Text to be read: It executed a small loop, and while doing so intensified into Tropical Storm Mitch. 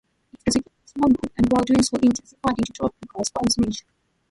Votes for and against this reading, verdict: 0, 2, rejected